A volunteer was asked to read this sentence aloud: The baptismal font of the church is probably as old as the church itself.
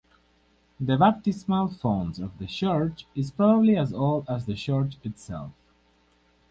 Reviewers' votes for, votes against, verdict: 2, 2, rejected